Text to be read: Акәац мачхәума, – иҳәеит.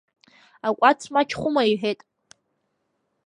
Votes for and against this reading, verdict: 2, 0, accepted